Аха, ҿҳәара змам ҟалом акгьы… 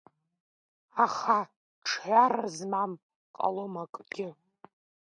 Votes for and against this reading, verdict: 0, 2, rejected